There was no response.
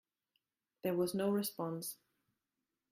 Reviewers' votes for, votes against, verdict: 2, 0, accepted